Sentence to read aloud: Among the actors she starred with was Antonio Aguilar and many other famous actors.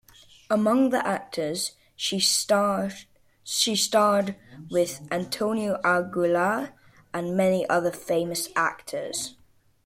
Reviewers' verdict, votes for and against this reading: rejected, 1, 2